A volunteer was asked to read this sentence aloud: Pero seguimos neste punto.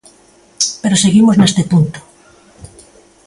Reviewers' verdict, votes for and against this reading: accepted, 2, 0